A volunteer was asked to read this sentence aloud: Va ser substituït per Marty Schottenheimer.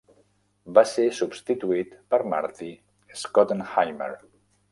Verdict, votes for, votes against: rejected, 0, 2